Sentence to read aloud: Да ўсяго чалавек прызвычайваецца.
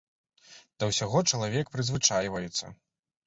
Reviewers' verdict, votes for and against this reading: accepted, 2, 0